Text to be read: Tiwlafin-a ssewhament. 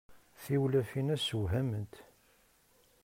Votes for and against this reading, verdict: 2, 0, accepted